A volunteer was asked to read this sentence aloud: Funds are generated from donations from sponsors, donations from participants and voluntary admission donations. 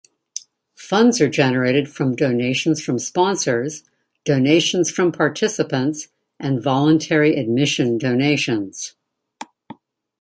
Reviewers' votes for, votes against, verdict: 2, 0, accepted